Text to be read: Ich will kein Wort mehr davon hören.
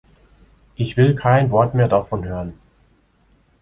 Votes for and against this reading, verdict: 3, 0, accepted